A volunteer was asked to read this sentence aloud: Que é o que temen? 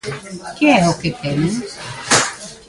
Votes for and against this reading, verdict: 2, 0, accepted